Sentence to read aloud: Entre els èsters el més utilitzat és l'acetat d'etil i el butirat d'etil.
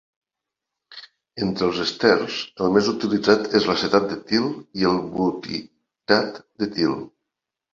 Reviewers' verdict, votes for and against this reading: rejected, 1, 2